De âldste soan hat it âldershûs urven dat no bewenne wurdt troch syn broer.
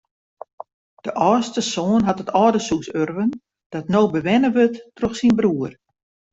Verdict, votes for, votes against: accepted, 2, 0